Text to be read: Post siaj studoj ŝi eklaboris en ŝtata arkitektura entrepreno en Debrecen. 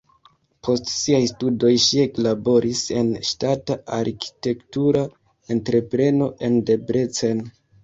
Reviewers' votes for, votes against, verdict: 1, 2, rejected